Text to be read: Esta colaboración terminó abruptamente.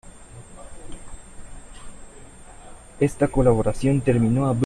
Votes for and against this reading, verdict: 0, 2, rejected